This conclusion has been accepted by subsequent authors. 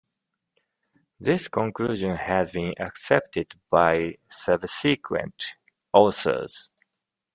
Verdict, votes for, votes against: accepted, 2, 0